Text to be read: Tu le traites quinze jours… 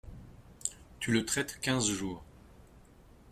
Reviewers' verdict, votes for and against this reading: accepted, 2, 0